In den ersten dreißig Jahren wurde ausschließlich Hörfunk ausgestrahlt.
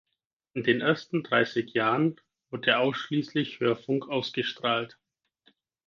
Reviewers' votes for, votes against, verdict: 4, 0, accepted